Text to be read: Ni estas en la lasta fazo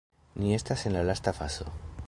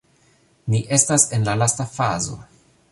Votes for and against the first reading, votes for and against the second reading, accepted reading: 0, 2, 2, 0, second